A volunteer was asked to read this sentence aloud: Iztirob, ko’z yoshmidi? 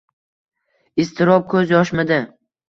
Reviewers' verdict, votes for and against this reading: rejected, 1, 2